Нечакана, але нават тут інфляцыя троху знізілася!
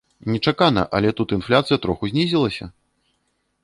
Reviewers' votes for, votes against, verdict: 0, 2, rejected